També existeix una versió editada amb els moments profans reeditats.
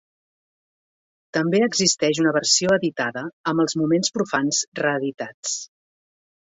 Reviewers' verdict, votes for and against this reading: accepted, 2, 0